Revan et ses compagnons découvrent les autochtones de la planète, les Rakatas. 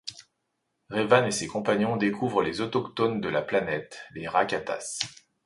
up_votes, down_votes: 2, 0